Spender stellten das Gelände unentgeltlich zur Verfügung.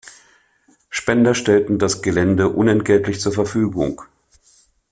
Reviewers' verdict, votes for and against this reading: accepted, 2, 0